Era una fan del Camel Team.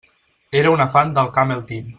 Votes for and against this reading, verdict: 2, 0, accepted